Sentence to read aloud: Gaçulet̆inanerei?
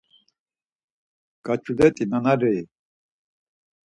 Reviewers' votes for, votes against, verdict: 0, 4, rejected